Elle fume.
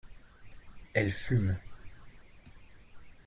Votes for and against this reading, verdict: 2, 0, accepted